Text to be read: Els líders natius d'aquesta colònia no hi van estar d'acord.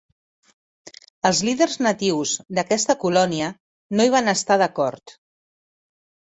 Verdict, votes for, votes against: accepted, 4, 0